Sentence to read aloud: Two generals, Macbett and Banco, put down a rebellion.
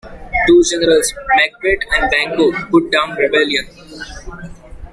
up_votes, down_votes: 0, 2